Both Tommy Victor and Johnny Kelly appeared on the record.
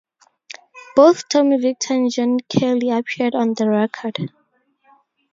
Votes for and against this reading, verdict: 0, 4, rejected